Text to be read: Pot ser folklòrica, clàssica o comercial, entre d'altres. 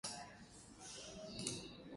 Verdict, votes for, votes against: rejected, 0, 2